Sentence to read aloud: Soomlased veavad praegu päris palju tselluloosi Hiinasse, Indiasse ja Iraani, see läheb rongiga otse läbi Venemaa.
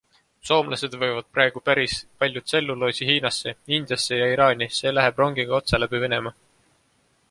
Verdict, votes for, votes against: accepted, 2, 0